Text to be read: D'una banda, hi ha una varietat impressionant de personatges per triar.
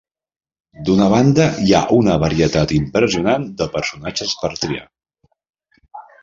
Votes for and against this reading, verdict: 2, 0, accepted